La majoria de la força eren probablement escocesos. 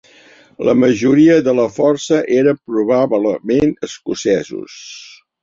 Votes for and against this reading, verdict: 2, 0, accepted